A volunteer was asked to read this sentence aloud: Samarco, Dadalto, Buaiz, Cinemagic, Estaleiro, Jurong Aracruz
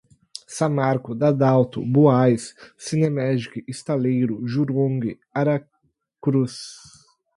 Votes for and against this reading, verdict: 2, 2, rejected